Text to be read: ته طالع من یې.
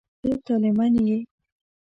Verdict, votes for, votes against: rejected, 0, 2